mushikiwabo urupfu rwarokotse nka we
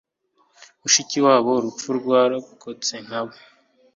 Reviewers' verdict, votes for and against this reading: accepted, 4, 0